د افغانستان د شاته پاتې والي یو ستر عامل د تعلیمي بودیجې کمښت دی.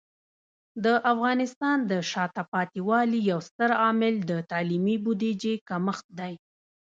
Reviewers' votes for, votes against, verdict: 0, 2, rejected